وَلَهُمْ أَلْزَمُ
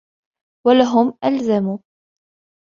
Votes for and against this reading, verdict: 2, 0, accepted